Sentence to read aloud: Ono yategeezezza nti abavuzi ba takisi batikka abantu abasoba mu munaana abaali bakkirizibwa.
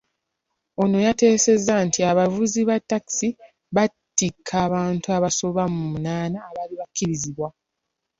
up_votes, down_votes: 0, 2